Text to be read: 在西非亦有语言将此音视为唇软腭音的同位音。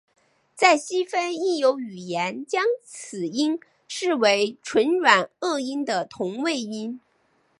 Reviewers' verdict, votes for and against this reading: accepted, 2, 0